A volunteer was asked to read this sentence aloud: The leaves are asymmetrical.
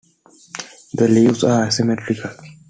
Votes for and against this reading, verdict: 2, 0, accepted